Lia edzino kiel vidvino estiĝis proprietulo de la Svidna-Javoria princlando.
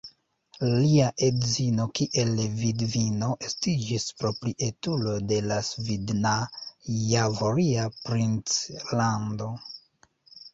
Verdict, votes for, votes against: rejected, 0, 2